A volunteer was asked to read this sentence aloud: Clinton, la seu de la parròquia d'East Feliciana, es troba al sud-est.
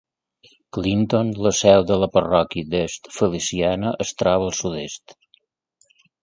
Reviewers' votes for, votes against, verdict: 2, 1, accepted